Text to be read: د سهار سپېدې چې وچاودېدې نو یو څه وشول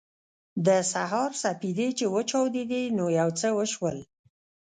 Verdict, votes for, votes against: rejected, 0, 2